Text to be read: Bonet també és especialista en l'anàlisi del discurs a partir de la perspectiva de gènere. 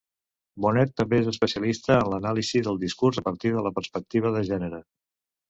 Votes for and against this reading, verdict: 1, 2, rejected